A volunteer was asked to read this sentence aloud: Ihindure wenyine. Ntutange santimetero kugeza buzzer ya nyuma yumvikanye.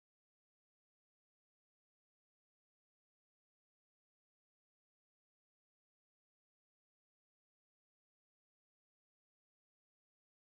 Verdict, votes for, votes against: rejected, 0, 2